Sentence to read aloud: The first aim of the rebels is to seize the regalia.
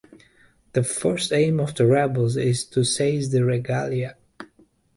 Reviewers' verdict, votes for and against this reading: rejected, 1, 2